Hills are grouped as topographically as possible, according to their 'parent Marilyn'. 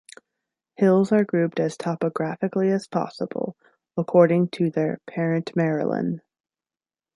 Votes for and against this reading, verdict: 3, 0, accepted